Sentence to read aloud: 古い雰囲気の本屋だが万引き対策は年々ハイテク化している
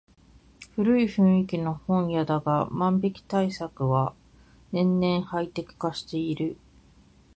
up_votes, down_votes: 2, 1